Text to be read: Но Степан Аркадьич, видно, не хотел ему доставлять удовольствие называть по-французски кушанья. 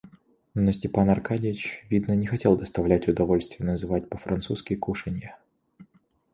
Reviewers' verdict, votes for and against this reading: rejected, 0, 2